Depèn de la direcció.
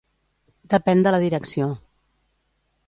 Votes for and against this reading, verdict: 2, 0, accepted